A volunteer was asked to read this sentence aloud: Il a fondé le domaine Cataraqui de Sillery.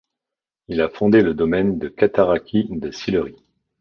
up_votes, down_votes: 0, 2